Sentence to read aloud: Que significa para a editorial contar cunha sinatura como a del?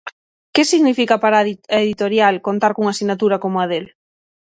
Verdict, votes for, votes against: rejected, 0, 6